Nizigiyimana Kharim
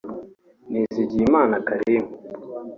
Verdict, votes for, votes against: accepted, 2, 0